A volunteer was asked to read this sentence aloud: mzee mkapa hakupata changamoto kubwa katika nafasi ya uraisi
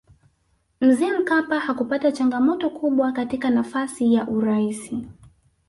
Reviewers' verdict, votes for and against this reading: rejected, 0, 2